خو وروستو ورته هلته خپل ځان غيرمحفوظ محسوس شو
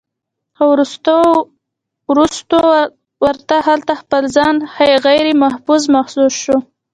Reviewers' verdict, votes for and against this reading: rejected, 1, 2